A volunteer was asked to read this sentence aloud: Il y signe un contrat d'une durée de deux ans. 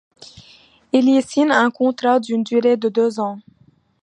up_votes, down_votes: 2, 0